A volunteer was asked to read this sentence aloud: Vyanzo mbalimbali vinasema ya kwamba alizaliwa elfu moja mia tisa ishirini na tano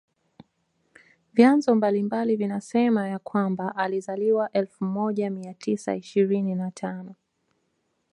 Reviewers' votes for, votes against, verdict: 2, 1, accepted